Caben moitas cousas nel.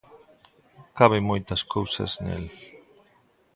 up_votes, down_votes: 2, 0